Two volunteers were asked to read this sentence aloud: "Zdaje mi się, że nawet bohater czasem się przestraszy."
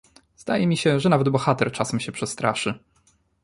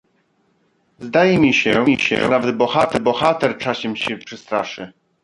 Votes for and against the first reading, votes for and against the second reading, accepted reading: 2, 0, 0, 2, first